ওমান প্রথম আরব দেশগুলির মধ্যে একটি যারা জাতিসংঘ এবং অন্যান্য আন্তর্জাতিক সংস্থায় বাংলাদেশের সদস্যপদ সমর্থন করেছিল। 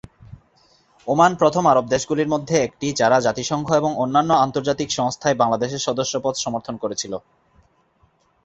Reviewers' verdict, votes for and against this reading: accepted, 2, 0